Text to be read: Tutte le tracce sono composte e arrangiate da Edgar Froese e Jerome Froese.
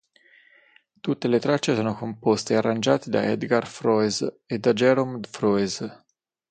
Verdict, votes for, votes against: rejected, 0, 6